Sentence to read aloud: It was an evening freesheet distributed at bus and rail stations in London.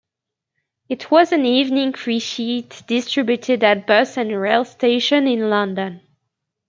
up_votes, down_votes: 2, 1